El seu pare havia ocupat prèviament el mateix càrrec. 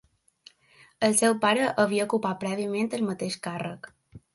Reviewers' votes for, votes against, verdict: 2, 0, accepted